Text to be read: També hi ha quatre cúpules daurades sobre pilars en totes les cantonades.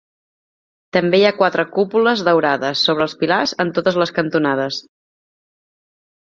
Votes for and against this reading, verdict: 0, 2, rejected